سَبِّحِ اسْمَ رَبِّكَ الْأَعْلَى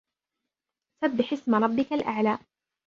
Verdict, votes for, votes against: rejected, 0, 2